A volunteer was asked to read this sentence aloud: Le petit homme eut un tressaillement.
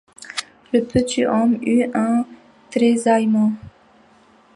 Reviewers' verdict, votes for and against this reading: rejected, 1, 2